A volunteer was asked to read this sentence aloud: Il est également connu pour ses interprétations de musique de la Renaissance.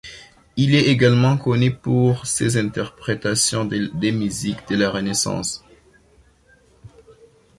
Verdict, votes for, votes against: rejected, 0, 2